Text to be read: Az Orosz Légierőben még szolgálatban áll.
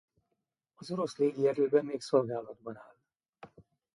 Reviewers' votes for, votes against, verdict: 0, 2, rejected